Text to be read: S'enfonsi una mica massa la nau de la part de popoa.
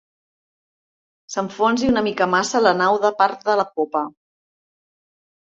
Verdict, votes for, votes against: rejected, 0, 2